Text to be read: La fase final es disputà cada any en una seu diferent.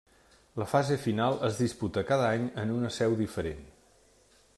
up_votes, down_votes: 1, 2